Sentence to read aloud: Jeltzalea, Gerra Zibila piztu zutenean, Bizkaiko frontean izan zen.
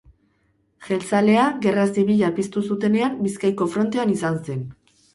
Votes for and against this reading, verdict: 2, 0, accepted